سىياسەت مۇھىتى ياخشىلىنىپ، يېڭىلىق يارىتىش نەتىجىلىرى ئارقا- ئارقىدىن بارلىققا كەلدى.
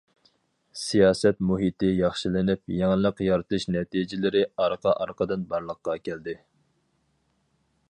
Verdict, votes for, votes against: accepted, 4, 0